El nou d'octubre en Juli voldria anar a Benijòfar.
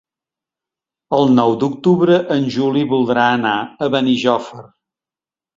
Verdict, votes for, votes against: rejected, 0, 2